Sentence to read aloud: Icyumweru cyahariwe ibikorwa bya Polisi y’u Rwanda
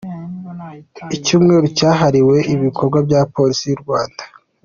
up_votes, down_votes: 2, 1